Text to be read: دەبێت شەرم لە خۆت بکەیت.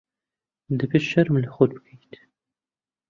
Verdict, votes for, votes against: accepted, 2, 1